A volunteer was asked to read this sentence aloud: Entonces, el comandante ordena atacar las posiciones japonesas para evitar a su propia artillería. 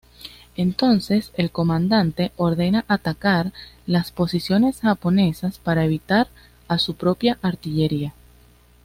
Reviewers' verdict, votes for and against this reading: accepted, 2, 0